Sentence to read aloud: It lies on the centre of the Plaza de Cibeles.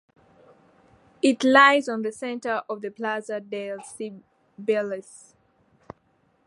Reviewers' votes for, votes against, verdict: 0, 2, rejected